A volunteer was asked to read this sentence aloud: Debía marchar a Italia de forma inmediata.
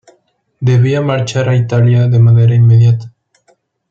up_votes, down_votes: 1, 2